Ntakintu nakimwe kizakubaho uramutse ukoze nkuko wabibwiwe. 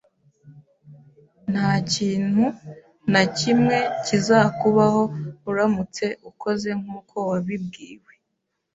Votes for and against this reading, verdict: 2, 1, accepted